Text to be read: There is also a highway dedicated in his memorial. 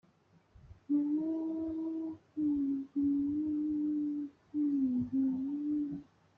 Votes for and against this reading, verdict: 0, 2, rejected